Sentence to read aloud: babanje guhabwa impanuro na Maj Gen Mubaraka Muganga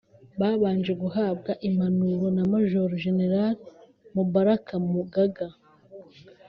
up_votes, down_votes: 1, 2